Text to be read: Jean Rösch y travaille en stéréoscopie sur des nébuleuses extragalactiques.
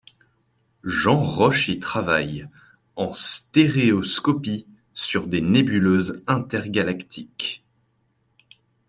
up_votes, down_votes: 0, 2